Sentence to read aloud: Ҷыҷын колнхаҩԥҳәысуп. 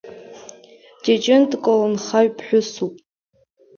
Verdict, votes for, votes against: rejected, 2, 3